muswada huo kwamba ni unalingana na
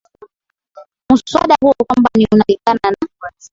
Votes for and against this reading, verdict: 2, 1, accepted